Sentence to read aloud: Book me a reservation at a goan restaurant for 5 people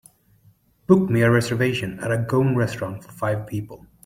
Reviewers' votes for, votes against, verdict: 0, 2, rejected